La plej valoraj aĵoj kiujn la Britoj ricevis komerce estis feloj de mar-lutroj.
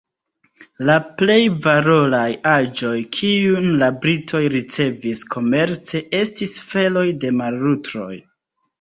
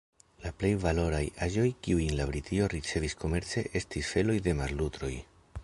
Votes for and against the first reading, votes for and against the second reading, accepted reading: 2, 0, 1, 2, first